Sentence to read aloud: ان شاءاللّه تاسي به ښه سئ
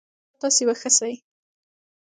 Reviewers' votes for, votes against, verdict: 0, 2, rejected